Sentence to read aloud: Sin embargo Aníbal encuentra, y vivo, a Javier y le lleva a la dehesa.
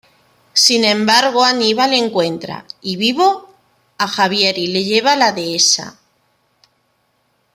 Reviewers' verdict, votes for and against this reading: accepted, 2, 1